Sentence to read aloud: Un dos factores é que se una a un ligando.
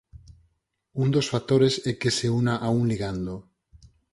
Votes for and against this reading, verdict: 4, 0, accepted